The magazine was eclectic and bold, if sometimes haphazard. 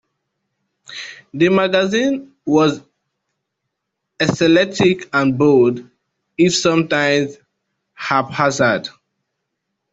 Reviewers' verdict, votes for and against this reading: rejected, 0, 2